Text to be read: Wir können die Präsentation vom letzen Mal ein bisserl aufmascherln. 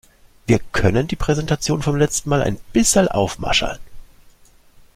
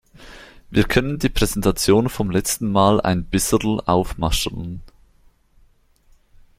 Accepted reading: first